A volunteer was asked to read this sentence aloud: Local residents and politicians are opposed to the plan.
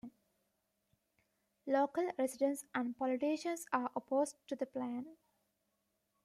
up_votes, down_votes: 2, 0